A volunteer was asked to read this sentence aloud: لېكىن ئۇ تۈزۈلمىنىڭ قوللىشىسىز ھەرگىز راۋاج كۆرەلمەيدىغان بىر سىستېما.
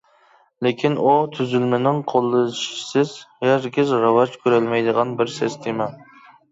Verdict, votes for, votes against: accepted, 2, 0